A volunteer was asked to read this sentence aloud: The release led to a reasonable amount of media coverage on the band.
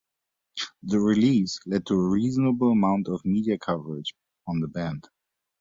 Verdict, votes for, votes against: rejected, 1, 2